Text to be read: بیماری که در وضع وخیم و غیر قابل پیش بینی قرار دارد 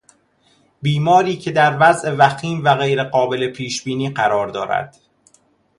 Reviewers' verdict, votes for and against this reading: accepted, 2, 0